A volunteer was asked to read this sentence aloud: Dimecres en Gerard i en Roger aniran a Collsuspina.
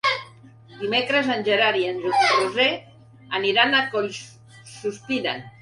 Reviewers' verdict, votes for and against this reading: rejected, 2, 3